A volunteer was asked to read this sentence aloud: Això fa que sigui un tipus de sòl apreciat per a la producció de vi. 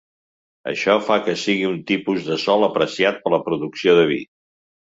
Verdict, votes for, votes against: accepted, 2, 0